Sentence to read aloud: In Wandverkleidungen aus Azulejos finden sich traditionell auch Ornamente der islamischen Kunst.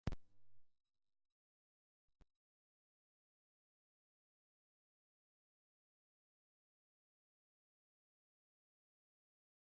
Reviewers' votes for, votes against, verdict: 0, 2, rejected